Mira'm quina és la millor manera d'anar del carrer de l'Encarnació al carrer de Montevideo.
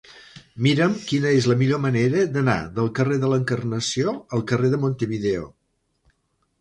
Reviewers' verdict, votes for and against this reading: rejected, 1, 2